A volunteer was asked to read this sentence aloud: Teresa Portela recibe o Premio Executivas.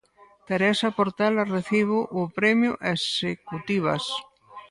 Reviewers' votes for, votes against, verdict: 2, 4, rejected